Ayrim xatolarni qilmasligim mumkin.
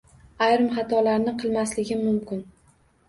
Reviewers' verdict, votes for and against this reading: accepted, 2, 0